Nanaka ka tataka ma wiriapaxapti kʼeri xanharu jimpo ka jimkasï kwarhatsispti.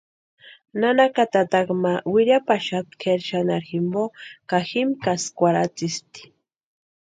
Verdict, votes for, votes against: rejected, 0, 2